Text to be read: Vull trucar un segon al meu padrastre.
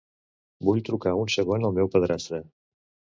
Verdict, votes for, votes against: accepted, 2, 0